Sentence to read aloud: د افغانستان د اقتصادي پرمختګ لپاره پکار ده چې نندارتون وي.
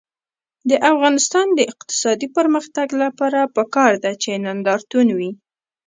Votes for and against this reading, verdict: 0, 2, rejected